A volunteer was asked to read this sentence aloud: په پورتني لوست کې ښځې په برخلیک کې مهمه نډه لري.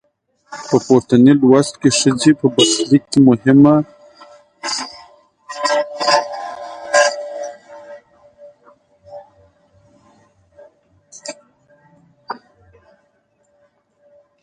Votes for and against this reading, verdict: 0, 2, rejected